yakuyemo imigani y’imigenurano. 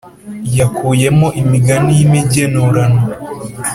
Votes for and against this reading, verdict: 3, 0, accepted